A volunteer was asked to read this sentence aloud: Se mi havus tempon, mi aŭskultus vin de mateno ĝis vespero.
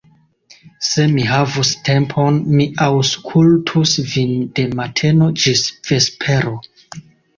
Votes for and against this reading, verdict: 1, 2, rejected